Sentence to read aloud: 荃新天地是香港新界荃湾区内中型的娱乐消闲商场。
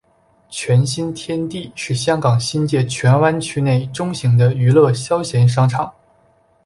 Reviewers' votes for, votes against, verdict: 2, 0, accepted